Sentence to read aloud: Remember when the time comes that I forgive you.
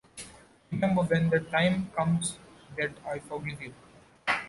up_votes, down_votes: 1, 2